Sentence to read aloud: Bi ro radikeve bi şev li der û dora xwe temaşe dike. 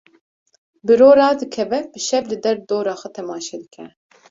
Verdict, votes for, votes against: accepted, 2, 0